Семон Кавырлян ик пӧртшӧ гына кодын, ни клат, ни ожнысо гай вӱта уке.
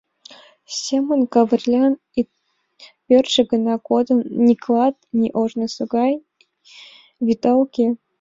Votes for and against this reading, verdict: 2, 1, accepted